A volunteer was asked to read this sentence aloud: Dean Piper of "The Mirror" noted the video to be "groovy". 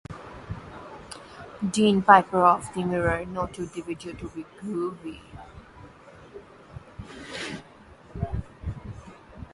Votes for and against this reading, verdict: 1, 2, rejected